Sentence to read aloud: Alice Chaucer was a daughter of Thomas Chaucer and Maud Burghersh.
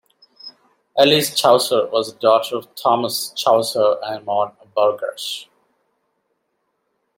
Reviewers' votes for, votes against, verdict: 2, 0, accepted